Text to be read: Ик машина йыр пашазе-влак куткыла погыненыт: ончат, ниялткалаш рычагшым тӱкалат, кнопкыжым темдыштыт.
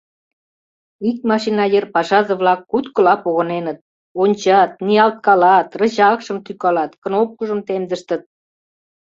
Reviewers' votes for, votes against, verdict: 1, 2, rejected